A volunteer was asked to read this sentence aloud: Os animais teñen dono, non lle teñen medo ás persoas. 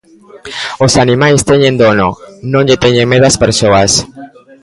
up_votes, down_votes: 1, 2